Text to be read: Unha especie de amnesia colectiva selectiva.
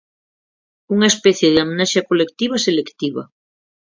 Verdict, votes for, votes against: accepted, 6, 0